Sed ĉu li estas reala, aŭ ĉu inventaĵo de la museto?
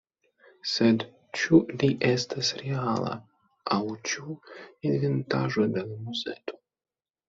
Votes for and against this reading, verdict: 2, 0, accepted